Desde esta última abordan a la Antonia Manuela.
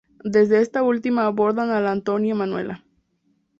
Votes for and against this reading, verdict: 2, 0, accepted